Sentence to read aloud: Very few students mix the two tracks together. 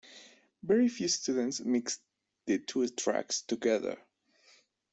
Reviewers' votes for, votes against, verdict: 2, 0, accepted